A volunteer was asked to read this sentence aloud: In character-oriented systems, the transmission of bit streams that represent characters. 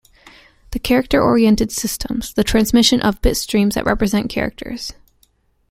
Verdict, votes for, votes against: rejected, 0, 2